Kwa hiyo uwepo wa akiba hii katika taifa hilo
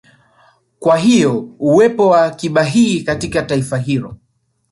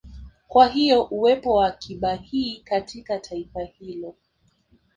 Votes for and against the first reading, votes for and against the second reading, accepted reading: 1, 2, 3, 0, second